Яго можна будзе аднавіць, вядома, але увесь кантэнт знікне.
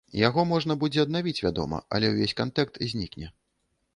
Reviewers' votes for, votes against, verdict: 0, 2, rejected